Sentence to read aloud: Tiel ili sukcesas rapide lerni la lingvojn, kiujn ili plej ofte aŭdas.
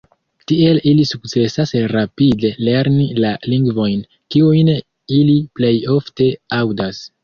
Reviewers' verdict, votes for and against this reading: accepted, 2, 0